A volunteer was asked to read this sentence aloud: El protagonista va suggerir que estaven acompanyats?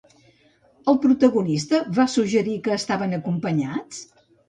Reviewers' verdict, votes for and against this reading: accepted, 2, 0